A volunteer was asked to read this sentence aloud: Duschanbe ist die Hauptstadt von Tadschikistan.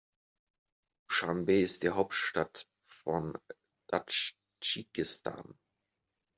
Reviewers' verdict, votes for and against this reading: rejected, 1, 2